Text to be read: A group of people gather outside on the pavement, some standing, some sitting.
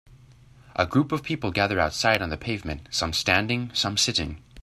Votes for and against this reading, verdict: 3, 0, accepted